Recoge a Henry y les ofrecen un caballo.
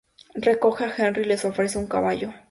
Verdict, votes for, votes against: accepted, 2, 0